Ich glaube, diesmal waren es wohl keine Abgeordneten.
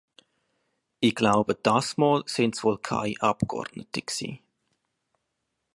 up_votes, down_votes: 0, 2